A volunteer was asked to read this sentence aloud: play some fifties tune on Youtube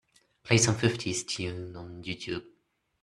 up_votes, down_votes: 2, 1